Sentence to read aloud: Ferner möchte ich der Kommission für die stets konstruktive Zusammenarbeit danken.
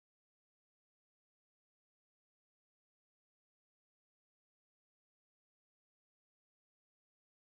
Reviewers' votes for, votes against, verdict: 0, 2, rejected